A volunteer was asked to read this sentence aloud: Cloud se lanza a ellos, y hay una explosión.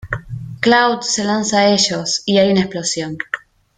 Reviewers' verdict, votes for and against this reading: accepted, 2, 0